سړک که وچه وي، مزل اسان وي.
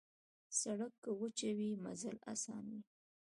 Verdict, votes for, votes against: rejected, 1, 2